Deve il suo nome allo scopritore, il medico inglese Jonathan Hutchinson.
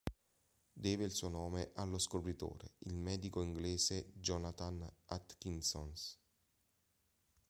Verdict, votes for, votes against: rejected, 1, 2